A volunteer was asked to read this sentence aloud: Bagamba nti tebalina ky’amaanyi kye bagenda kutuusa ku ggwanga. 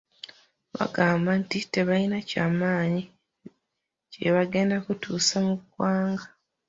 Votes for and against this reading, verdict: 0, 2, rejected